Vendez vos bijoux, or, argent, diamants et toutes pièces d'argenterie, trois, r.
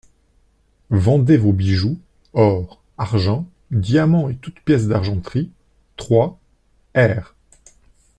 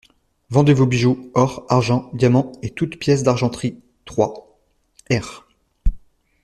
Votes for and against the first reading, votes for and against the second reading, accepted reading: 2, 0, 1, 2, first